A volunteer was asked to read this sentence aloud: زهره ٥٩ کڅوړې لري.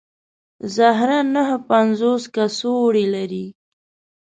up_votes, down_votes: 0, 2